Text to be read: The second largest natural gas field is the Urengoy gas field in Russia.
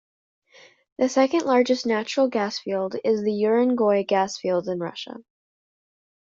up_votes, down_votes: 2, 0